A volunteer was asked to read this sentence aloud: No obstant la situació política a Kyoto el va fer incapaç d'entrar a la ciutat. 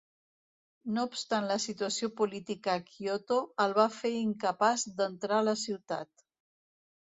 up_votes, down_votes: 2, 0